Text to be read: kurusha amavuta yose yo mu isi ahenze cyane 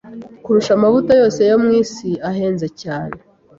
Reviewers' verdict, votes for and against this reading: accepted, 2, 0